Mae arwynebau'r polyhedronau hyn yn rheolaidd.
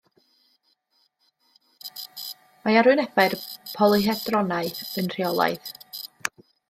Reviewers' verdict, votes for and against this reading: rejected, 1, 2